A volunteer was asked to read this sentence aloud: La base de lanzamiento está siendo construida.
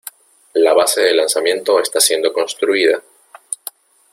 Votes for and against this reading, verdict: 2, 0, accepted